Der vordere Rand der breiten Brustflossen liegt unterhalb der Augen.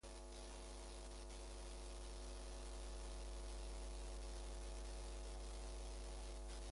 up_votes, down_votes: 0, 2